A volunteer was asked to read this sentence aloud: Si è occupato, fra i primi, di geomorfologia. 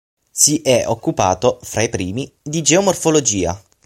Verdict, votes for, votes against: accepted, 6, 0